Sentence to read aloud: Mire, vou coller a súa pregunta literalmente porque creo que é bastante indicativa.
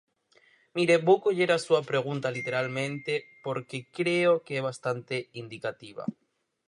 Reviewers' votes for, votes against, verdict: 4, 0, accepted